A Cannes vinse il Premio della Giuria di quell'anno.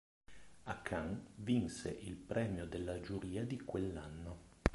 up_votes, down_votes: 2, 3